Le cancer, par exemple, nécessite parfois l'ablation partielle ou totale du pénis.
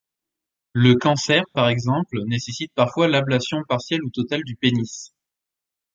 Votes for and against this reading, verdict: 2, 0, accepted